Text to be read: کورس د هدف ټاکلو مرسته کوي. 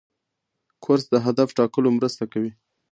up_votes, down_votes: 2, 0